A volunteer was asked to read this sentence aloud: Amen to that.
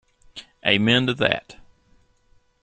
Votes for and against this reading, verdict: 2, 0, accepted